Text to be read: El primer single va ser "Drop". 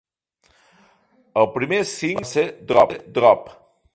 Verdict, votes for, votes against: rejected, 0, 2